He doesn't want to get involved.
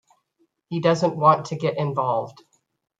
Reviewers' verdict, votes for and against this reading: rejected, 1, 2